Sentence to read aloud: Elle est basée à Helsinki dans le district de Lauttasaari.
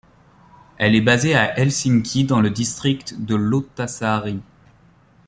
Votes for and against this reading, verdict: 2, 0, accepted